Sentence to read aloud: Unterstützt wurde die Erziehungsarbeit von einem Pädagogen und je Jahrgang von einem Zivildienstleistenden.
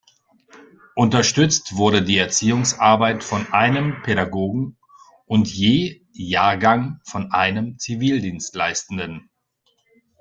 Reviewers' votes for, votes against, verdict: 2, 0, accepted